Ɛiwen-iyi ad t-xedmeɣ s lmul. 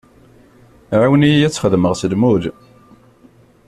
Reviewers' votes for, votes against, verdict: 1, 2, rejected